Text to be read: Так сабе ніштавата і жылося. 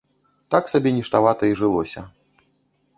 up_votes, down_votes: 2, 0